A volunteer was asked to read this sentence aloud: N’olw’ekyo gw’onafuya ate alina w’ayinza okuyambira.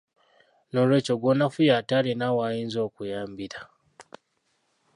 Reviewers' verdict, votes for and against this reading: accepted, 2, 1